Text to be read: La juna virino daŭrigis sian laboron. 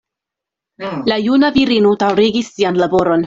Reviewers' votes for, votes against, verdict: 0, 2, rejected